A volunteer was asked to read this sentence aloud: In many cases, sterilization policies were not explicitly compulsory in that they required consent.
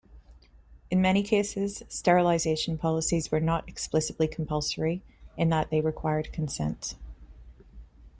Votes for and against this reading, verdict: 1, 2, rejected